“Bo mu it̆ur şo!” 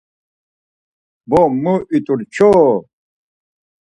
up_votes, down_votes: 2, 4